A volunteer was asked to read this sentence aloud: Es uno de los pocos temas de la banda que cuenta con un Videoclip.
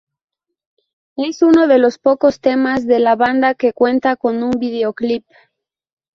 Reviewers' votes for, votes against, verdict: 0, 2, rejected